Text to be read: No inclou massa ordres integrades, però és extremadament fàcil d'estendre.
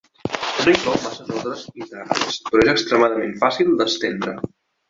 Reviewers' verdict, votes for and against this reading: rejected, 0, 2